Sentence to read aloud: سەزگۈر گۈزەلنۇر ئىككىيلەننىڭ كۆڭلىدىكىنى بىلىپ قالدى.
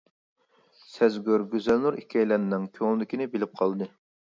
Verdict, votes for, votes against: accepted, 2, 0